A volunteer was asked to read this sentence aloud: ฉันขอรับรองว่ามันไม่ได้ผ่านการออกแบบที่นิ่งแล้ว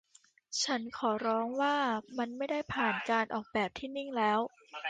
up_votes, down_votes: 0, 2